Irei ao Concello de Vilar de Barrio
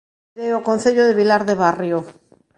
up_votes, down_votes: 0, 2